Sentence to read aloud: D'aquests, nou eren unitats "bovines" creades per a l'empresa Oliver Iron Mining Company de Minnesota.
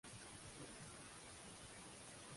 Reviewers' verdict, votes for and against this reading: rejected, 0, 2